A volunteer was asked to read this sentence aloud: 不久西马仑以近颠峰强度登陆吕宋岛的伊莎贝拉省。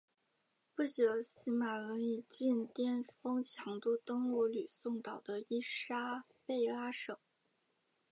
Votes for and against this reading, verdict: 2, 0, accepted